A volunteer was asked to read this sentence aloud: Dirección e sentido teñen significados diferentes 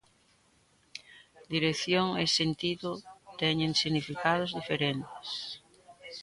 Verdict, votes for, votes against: accepted, 2, 0